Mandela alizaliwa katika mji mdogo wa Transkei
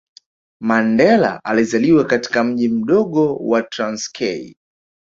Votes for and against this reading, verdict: 2, 0, accepted